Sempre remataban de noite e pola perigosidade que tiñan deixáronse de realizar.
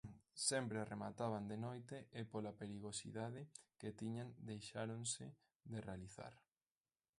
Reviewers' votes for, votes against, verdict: 1, 2, rejected